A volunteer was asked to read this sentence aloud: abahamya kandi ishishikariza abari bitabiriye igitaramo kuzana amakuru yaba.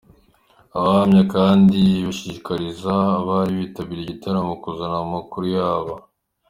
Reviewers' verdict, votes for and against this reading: accepted, 2, 0